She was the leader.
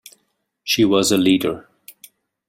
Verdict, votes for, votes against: rejected, 1, 2